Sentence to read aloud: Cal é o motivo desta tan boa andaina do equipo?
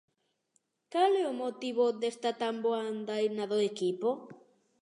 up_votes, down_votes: 2, 0